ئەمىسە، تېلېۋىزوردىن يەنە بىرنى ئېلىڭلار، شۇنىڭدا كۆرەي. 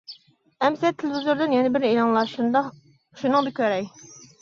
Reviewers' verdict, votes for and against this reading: rejected, 0, 2